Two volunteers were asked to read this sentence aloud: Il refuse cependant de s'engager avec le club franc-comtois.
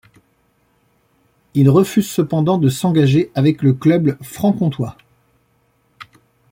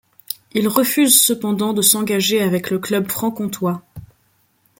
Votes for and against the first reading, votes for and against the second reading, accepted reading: 0, 2, 2, 0, second